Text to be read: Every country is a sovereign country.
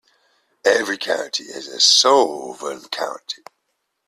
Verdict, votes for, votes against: rejected, 0, 2